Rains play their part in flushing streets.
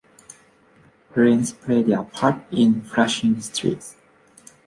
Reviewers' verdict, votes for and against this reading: accepted, 2, 0